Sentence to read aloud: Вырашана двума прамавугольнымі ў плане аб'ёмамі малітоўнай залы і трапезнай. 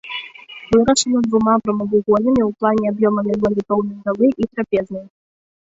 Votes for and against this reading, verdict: 0, 2, rejected